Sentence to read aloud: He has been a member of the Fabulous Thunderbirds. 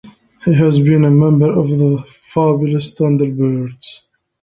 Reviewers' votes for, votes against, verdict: 3, 1, accepted